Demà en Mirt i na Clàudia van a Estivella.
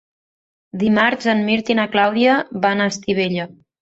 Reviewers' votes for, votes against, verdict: 0, 2, rejected